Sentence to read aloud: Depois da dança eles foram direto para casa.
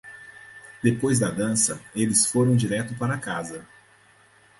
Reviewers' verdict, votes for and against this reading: accepted, 4, 2